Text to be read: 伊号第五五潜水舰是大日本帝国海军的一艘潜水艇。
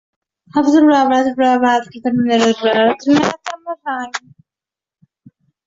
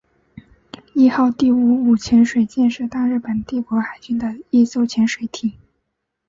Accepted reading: second